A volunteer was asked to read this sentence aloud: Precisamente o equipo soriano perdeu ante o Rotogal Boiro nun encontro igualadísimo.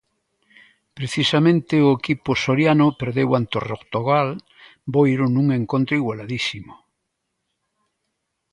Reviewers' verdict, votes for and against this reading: accepted, 2, 0